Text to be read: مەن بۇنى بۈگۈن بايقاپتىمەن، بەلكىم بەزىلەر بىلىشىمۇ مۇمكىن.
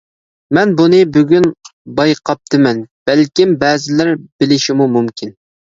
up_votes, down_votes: 2, 0